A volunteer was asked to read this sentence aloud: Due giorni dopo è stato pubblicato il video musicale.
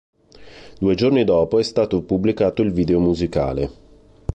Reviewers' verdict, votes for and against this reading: accepted, 2, 0